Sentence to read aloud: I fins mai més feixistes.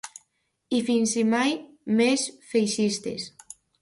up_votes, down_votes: 0, 2